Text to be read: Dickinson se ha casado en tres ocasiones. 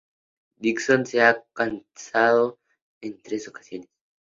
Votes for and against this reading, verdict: 0, 2, rejected